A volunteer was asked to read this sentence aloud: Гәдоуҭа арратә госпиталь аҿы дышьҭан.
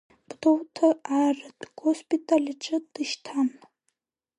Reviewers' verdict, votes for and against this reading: accepted, 3, 0